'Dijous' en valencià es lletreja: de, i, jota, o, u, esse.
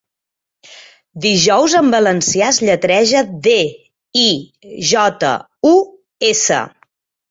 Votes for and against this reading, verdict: 1, 2, rejected